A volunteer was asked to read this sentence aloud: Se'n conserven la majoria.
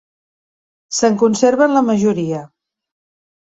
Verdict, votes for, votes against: accepted, 3, 0